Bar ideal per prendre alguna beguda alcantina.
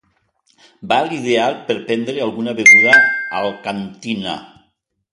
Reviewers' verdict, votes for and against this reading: rejected, 0, 2